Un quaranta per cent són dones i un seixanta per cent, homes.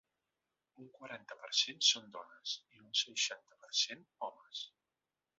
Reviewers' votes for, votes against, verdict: 1, 2, rejected